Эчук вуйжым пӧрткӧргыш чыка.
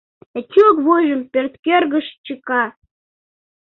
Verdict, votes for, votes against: accepted, 2, 0